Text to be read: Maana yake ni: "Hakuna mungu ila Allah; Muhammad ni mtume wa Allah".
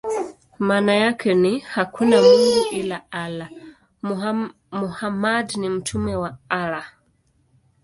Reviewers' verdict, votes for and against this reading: rejected, 1, 2